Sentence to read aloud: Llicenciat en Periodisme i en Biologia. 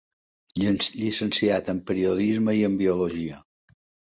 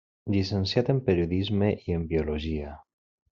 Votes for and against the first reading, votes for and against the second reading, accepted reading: 1, 3, 3, 0, second